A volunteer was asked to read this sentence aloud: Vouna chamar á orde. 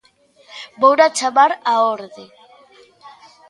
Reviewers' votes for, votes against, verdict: 2, 0, accepted